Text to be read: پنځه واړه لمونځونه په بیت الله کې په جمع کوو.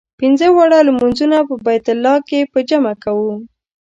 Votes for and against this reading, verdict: 2, 0, accepted